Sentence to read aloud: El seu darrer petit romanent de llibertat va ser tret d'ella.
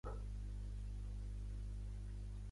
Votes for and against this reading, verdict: 0, 2, rejected